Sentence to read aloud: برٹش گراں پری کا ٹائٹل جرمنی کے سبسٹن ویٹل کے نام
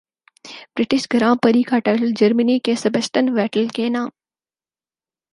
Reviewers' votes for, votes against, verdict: 4, 0, accepted